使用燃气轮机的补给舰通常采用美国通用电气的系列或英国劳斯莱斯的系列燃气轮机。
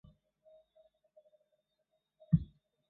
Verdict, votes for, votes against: rejected, 0, 2